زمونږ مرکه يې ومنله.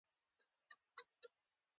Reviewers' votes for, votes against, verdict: 2, 0, accepted